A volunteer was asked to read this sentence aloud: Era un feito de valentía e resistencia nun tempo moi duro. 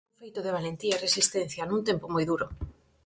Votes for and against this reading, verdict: 0, 4, rejected